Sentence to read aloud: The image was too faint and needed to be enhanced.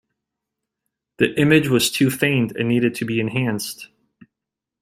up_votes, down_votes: 2, 0